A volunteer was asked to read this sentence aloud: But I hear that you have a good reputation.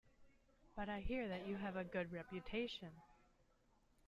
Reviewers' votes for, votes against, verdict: 2, 0, accepted